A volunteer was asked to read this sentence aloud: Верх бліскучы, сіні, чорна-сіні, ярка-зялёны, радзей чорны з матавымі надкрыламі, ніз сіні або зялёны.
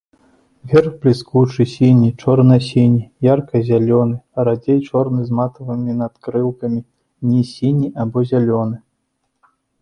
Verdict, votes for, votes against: rejected, 0, 2